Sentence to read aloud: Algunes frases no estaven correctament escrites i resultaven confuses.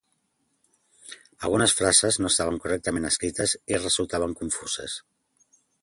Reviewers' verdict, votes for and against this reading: accepted, 2, 1